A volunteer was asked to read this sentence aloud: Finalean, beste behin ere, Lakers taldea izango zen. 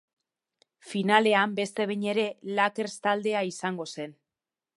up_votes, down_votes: 0, 2